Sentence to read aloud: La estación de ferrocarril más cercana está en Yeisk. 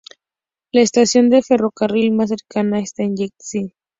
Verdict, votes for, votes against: rejected, 0, 2